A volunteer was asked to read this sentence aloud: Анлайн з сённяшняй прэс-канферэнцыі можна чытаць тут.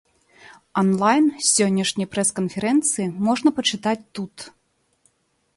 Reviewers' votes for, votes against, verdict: 0, 2, rejected